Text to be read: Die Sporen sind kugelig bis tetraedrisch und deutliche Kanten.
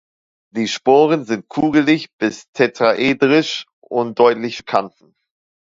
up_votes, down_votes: 0, 2